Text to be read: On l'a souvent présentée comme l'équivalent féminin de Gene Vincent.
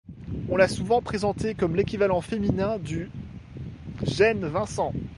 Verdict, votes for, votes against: rejected, 0, 2